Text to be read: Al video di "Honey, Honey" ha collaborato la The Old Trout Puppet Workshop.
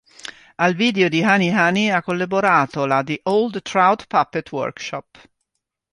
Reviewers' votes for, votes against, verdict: 2, 0, accepted